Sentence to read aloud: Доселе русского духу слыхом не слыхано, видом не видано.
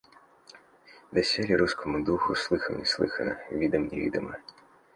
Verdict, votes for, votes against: rejected, 0, 2